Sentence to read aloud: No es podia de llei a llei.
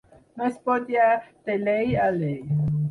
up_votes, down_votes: 2, 4